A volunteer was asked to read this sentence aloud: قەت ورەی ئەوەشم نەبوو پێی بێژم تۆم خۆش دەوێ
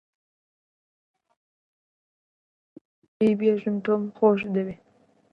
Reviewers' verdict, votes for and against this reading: rejected, 0, 2